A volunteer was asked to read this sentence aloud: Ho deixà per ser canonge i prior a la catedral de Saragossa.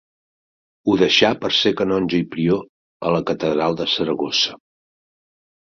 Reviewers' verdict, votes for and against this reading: accepted, 4, 0